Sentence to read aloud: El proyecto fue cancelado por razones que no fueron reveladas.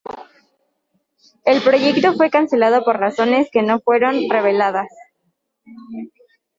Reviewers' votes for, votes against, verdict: 0, 2, rejected